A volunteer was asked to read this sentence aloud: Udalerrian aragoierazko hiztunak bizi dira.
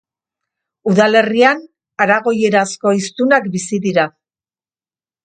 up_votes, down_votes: 2, 0